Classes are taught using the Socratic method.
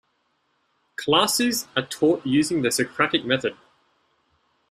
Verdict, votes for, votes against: accepted, 2, 0